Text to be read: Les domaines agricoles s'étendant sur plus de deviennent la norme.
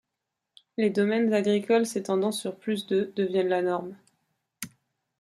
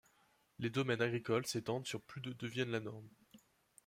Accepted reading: first